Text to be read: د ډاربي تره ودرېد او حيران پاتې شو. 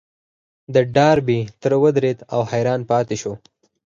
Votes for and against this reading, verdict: 2, 4, rejected